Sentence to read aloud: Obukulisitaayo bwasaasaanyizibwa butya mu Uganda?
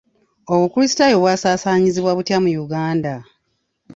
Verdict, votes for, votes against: accepted, 2, 0